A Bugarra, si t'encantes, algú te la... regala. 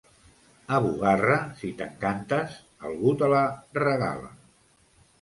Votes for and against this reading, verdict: 2, 0, accepted